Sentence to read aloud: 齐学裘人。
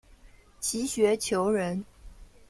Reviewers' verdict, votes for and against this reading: accepted, 2, 0